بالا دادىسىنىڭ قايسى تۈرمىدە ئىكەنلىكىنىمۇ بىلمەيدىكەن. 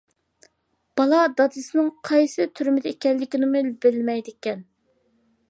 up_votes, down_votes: 2, 1